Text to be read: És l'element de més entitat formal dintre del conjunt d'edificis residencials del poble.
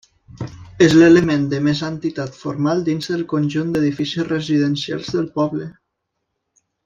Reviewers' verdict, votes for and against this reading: accepted, 2, 0